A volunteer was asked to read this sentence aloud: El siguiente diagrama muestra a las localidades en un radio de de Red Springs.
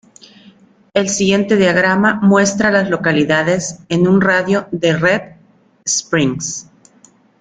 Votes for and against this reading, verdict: 0, 2, rejected